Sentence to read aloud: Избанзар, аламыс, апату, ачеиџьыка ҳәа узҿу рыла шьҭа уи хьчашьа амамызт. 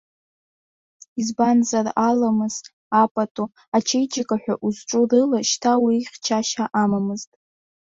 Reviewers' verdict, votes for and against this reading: accepted, 2, 0